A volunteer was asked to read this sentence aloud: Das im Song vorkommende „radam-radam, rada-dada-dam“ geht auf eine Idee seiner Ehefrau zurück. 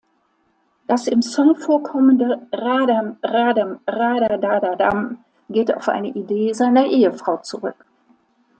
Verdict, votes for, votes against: rejected, 0, 2